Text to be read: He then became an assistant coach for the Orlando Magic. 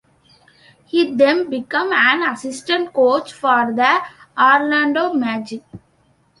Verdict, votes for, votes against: rejected, 0, 2